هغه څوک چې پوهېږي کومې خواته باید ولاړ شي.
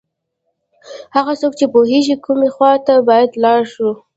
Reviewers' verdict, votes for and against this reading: rejected, 1, 2